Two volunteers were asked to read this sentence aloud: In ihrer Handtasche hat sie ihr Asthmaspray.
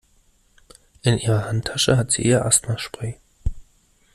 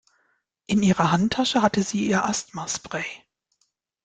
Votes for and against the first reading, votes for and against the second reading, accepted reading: 2, 0, 0, 2, first